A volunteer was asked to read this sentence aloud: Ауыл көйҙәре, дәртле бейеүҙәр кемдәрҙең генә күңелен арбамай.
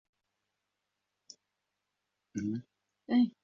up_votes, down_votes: 0, 2